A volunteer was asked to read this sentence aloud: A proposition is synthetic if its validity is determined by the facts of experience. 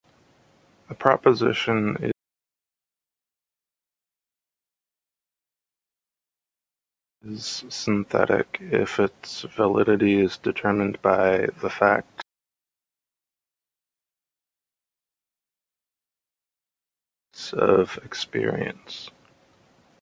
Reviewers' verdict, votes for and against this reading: rejected, 1, 2